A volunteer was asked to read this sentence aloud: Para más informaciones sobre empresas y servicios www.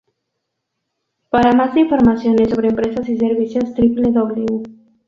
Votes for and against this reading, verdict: 0, 2, rejected